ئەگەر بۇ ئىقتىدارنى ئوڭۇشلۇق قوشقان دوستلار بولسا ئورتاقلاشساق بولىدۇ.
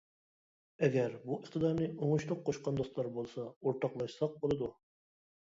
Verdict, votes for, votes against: accepted, 2, 0